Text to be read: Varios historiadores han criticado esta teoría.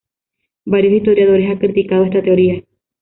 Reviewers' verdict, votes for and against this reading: rejected, 1, 2